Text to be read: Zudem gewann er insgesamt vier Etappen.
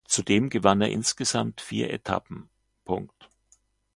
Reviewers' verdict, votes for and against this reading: accepted, 2, 0